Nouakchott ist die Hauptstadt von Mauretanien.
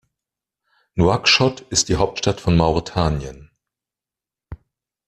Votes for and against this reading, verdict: 2, 0, accepted